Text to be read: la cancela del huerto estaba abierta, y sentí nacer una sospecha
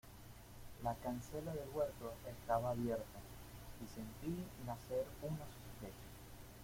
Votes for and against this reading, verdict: 1, 2, rejected